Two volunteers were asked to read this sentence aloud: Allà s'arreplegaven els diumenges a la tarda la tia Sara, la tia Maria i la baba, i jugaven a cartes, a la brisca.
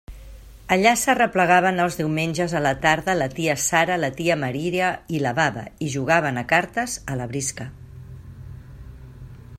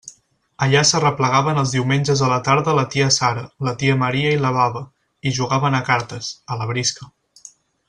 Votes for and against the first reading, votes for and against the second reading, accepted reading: 1, 2, 4, 0, second